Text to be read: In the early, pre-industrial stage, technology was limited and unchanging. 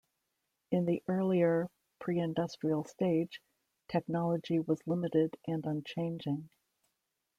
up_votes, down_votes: 1, 2